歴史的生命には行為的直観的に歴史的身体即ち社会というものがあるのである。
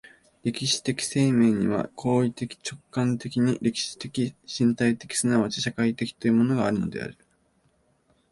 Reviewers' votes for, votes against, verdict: 1, 2, rejected